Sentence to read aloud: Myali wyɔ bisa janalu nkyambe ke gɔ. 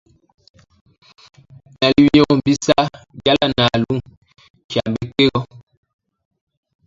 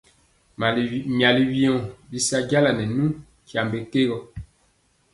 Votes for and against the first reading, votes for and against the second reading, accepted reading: 0, 2, 3, 0, second